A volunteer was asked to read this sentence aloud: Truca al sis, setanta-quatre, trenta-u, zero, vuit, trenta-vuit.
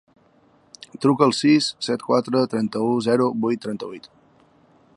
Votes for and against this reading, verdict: 0, 2, rejected